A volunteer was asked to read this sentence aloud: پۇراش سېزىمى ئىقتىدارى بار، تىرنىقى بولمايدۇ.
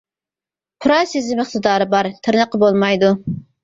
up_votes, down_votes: 0, 2